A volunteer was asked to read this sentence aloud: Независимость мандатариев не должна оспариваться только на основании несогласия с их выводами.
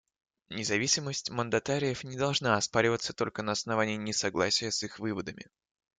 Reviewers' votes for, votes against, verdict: 2, 0, accepted